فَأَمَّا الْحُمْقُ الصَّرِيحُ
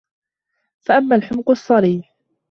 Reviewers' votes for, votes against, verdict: 2, 0, accepted